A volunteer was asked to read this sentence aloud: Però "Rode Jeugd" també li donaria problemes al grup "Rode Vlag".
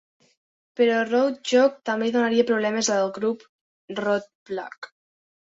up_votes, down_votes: 1, 2